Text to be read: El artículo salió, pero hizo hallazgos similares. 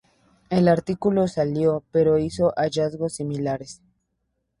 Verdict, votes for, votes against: accepted, 2, 0